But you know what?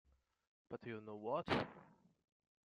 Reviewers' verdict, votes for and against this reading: rejected, 0, 2